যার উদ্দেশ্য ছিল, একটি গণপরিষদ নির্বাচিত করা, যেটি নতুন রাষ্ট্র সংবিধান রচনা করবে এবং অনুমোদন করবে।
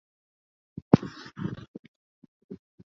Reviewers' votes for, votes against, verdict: 0, 2, rejected